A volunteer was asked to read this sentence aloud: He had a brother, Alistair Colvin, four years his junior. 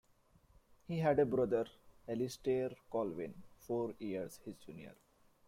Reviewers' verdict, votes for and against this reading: rejected, 1, 3